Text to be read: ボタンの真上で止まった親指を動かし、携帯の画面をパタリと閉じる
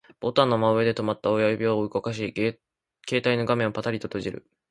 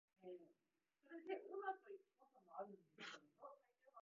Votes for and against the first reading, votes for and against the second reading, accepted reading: 3, 0, 0, 2, first